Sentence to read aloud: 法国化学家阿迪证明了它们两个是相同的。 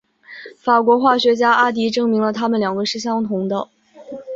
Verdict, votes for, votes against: accepted, 5, 0